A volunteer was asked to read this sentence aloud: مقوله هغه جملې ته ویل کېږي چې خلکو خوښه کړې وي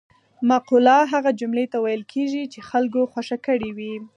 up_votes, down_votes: 4, 0